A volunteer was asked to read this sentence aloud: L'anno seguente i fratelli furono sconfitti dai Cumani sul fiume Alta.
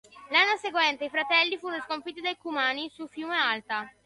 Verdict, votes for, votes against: accepted, 2, 0